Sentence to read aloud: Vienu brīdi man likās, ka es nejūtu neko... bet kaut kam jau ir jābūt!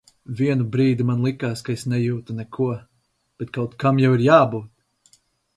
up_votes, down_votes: 4, 2